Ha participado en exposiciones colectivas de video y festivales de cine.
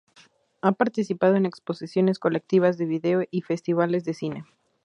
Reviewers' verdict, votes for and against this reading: accepted, 2, 0